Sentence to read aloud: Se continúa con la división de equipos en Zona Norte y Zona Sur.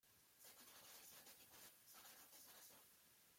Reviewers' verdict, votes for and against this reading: rejected, 0, 2